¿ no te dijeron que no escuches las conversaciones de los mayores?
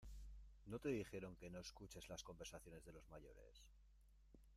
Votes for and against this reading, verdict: 1, 2, rejected